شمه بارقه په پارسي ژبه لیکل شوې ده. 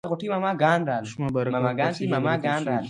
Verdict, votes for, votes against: rejected, 1, 2